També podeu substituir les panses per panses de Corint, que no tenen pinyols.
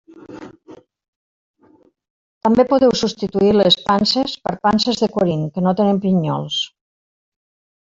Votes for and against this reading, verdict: 2, 1, accepted